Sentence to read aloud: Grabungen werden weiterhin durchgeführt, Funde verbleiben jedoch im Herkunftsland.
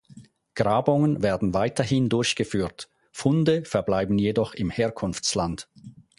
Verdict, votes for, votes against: accepted, 4, 0